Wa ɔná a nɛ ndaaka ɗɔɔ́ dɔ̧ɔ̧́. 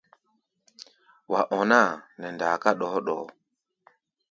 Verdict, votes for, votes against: rejected, 0, 2